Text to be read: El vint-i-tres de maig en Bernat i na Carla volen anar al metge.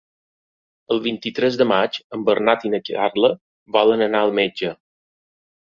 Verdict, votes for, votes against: rejected, 1, 2